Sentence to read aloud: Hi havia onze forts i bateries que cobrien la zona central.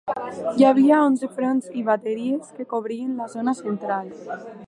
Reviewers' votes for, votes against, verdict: 1, 2, rejected